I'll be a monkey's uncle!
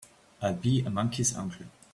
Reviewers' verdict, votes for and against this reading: accepted, 2, 0